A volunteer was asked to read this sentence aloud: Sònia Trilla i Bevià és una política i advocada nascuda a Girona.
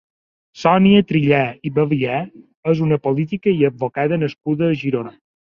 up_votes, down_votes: 2, 3